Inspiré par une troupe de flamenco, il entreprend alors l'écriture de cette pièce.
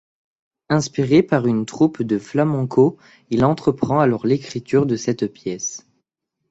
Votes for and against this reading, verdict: 0, 2, rejected